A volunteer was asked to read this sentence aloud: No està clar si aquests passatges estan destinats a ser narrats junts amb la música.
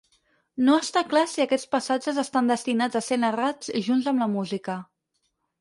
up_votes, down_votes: 4, 0